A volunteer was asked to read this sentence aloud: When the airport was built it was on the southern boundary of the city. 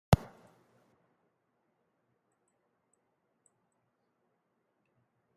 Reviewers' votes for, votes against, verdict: 0, 2, rejected